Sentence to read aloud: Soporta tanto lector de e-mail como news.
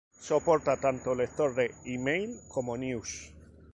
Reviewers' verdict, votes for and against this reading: accepted, 2, 0